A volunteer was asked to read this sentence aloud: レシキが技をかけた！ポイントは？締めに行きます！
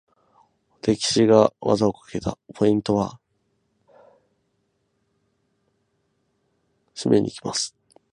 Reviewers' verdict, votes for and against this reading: accepted, 6, 0